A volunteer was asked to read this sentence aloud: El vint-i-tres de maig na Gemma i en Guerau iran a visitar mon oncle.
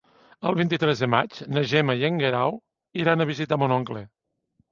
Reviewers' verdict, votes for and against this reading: accepted, 2, 0